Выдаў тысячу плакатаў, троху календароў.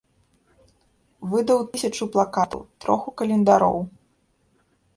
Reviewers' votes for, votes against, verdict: 2, 0, accepted